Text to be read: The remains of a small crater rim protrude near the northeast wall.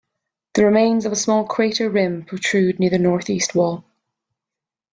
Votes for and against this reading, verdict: 1, 2, rejected